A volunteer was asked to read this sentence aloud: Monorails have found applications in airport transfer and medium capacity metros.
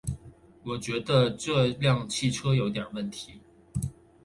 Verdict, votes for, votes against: rejected, 0, 2